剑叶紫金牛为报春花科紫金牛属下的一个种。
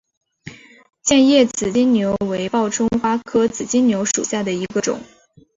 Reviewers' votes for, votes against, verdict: 3, 0, accepted